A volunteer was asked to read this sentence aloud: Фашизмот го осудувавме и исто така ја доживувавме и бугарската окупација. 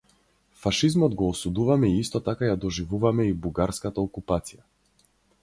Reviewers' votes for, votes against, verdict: 2, 2, rejected